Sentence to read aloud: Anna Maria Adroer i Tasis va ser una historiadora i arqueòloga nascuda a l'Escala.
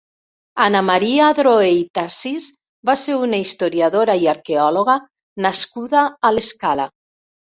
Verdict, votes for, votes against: accepted, 3, 0